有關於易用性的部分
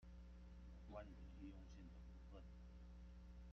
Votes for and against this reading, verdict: 0, 3, rejected